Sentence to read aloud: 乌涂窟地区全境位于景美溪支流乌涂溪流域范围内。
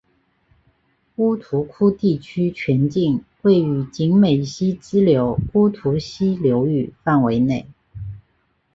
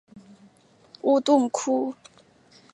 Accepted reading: first